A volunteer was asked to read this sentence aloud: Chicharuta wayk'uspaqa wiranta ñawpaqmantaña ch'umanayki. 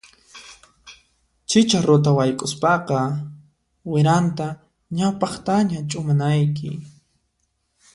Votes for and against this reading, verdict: 1, 2, rejected